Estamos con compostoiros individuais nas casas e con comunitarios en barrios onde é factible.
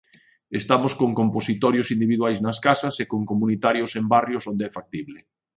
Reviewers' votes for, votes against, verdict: 0, 2, rejected